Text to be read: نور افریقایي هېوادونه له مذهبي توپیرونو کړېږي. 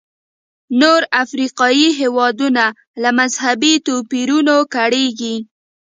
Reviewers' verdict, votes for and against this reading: accepted, 2, 1